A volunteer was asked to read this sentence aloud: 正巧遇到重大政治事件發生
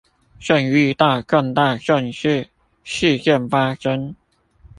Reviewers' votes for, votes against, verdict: 0, 2, rejected